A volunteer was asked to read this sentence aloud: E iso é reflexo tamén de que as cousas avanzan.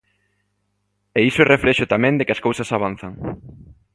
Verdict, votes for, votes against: accepted, 2, 0